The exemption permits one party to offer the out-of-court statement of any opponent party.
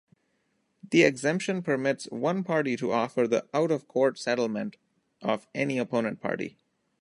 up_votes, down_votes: 0, 2